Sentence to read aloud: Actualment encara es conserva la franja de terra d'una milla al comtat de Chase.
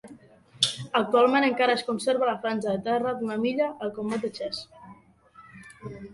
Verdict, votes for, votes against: rejected, 1, 2